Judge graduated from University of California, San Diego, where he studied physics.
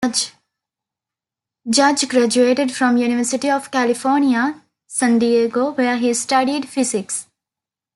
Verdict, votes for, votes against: rejected, 0, 2